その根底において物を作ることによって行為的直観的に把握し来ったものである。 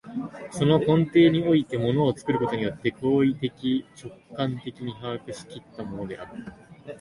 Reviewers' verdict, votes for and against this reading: accepted, 2, 0